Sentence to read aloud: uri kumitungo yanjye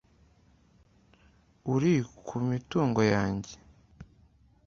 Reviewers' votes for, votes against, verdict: 2, 0, accepted